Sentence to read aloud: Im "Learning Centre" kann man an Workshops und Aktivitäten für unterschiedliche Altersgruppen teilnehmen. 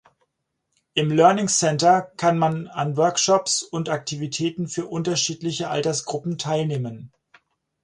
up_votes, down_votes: 4, 0